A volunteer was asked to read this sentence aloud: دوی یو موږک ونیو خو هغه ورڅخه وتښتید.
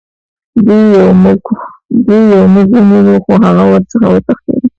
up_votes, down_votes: 0, 2